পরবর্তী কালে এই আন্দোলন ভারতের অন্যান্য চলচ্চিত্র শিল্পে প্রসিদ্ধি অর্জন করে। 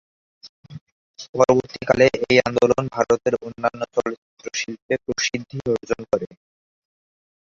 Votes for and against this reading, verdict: 0, 4, rejected